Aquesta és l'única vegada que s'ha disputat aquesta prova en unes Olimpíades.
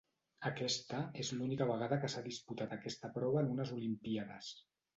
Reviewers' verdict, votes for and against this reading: rejected, 1, 2